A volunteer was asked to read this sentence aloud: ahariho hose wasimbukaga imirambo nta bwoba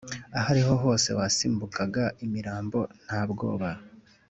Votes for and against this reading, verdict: 2, 0, accepted